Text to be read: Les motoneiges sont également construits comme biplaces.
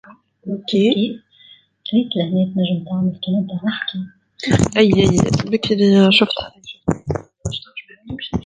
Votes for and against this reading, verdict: 0, 2, rejected